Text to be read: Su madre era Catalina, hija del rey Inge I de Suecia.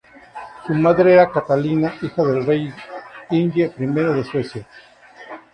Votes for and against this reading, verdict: 0, 4, rejected